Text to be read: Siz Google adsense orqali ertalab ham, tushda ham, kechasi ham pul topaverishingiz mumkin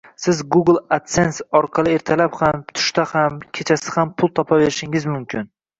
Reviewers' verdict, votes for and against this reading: rejected, 0, 2